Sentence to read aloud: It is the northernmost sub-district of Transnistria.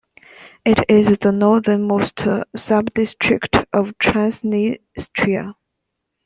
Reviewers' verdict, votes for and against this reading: accepted, 2, 0